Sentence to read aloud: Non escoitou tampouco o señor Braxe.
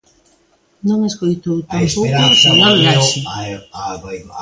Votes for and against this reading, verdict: 0, 2, rejected